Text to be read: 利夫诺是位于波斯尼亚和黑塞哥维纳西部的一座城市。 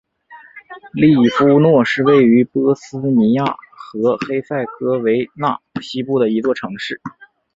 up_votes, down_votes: 0, 2